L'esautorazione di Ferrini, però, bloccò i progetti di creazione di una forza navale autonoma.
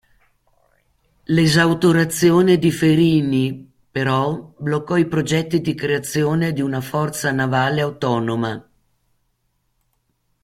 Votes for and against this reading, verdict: 1, 2, rejected